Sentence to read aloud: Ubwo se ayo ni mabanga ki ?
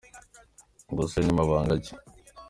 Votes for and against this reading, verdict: 2, 1, accepted